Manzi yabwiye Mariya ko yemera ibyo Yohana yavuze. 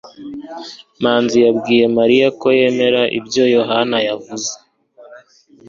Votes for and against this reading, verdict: 2, 0, accepted